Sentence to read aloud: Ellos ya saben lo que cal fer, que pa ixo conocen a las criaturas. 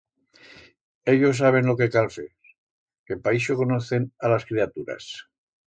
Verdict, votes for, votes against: rejected, 1, 2